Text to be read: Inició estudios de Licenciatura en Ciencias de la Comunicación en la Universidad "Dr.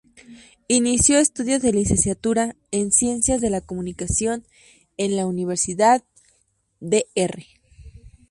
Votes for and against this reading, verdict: 2, 0, accepted